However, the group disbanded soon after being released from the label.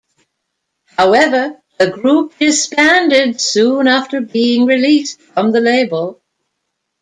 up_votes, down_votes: 2, 1